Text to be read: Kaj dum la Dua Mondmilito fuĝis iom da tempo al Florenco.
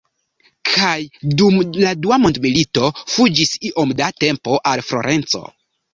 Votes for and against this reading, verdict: 2, 1, accepted